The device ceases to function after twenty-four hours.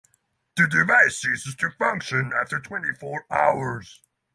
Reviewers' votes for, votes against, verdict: 9, 0, accepted